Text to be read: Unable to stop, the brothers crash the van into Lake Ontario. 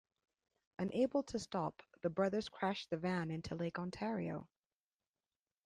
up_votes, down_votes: 2, 0